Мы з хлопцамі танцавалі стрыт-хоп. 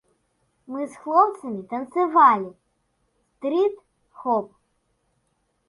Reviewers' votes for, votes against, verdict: 1, 2, rejected